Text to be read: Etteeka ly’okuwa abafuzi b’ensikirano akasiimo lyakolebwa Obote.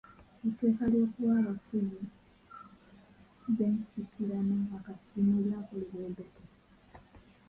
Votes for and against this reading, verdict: 0, 3, rejected